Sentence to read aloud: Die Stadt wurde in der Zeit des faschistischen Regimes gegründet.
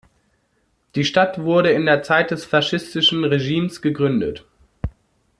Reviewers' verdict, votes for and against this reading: accepted, 2, 0